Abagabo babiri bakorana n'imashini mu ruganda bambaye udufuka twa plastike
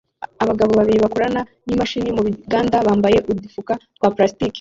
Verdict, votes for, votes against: rejected, 0, 2